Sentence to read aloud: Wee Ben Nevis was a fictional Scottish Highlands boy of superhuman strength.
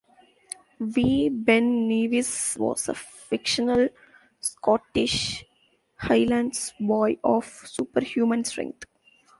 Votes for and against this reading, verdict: 2, 0, accepted